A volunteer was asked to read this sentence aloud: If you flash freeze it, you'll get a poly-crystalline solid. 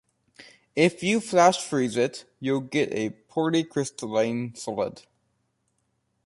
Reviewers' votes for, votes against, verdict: 2, 0, accepted